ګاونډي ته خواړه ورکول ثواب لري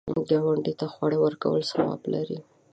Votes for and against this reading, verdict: 0, 2, rejected